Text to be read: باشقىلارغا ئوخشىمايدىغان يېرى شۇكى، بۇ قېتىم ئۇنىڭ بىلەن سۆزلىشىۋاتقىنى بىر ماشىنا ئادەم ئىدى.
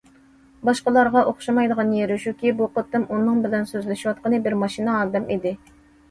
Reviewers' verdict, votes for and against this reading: accepted, 2, 0